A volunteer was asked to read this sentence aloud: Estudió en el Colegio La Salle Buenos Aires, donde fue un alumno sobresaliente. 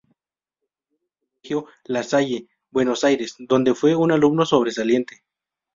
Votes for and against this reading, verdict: 0, 2, rejected